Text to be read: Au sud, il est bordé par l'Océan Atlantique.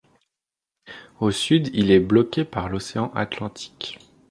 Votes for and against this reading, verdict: 1, 2, rejected